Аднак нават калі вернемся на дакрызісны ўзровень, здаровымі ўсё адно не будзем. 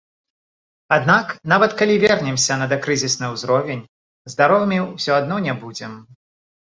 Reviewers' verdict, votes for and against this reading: rejected, 1, 2